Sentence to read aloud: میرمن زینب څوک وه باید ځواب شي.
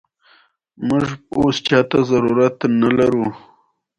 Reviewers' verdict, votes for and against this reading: accepted, 2, 0